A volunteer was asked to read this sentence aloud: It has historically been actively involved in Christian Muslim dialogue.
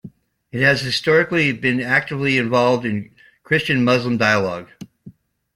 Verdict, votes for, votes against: accepted, 2, 1